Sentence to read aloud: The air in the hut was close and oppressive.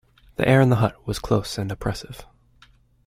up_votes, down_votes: 2, 0